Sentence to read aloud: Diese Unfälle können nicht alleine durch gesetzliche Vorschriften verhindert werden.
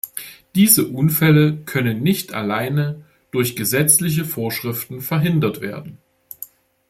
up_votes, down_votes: 2, 0